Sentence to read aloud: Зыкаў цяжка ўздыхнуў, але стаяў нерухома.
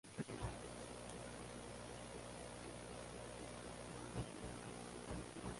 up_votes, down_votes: 0, 2